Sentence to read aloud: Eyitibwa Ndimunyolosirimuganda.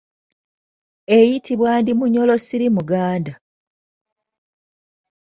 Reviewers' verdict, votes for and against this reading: accepted, 2, 0